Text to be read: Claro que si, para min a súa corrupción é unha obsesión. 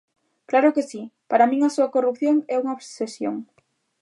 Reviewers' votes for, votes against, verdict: 2, 0, accepted